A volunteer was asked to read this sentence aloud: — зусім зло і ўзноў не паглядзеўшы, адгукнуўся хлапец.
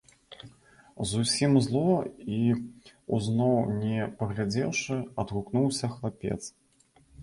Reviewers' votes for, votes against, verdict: 2, 0, accepted